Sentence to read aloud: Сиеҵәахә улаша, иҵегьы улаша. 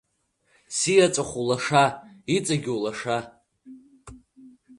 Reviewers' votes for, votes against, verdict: 2, 0, accepted